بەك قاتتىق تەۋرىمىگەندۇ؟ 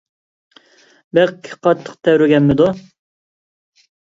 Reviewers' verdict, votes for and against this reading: rejected, 1, 2